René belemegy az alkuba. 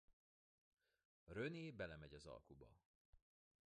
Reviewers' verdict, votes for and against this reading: rejected, 1, 2